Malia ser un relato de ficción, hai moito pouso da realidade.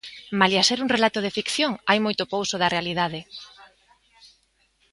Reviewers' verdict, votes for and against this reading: accepted, 2, 0